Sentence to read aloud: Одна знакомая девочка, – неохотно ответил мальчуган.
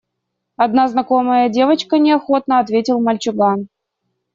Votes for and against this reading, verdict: 2, 0, accepted